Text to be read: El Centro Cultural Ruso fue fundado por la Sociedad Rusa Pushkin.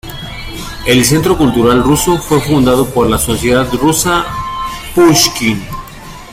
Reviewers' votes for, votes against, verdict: 2, 0, accepted